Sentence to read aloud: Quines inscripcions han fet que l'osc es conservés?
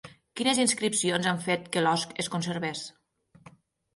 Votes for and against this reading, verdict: 9, 0, accepted